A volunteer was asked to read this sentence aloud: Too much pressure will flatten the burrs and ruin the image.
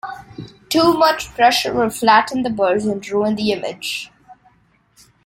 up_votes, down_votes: 2, 0